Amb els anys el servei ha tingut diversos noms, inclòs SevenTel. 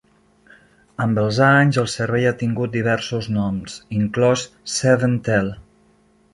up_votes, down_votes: 2, 0